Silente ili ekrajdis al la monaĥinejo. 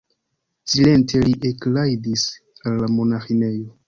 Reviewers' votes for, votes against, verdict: 0, 2, rejected